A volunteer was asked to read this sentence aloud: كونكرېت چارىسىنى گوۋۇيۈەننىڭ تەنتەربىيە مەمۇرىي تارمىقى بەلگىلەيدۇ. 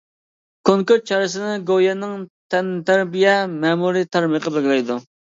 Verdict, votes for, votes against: rejected, 0, 2